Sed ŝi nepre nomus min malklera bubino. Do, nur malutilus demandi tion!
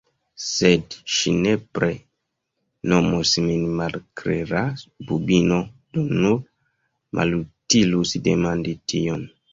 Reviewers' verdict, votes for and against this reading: rejected, 1, 2